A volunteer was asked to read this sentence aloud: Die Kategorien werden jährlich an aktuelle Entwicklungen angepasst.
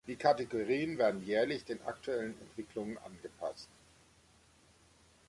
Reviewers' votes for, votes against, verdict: 0, 2, rejected